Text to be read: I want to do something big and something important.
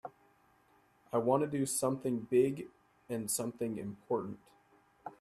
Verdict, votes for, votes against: accepted, 3, 0